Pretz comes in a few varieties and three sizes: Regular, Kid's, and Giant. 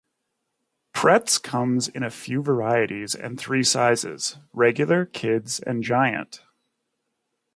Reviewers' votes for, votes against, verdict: 4, 0, accepted